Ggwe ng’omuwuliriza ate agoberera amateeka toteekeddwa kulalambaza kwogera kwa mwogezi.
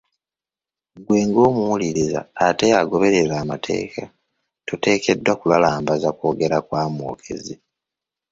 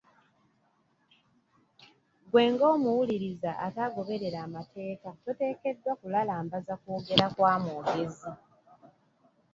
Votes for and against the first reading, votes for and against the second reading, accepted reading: 1, 2, 2, 0, second